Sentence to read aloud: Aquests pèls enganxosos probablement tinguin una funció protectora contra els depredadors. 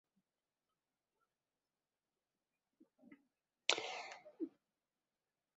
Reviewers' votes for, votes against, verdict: 1, 2, rejected